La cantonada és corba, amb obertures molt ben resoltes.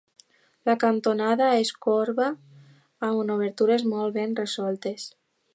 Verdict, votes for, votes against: accepted, 2, 1